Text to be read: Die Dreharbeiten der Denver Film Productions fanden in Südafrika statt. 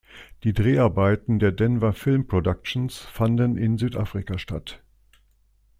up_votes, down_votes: 2, 0